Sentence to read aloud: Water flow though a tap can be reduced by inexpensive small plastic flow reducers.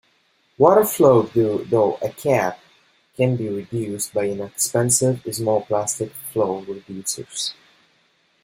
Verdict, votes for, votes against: rejected, 0, 2